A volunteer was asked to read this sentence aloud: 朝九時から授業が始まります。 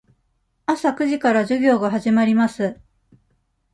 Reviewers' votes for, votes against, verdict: 2, 0, accepted